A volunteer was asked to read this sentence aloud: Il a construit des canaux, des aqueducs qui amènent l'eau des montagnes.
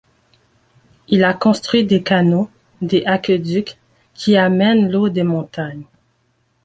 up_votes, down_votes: 1, 2